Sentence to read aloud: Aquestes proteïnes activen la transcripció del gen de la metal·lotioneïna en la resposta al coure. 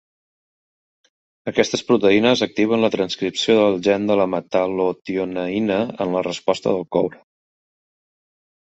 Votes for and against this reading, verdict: 0, 2, rejected